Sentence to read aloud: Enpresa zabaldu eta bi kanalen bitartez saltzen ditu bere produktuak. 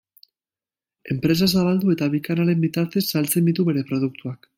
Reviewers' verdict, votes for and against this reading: accepted, 2, 0